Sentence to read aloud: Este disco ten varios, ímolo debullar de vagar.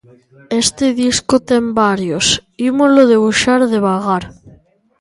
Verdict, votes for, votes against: rejected, 0, 2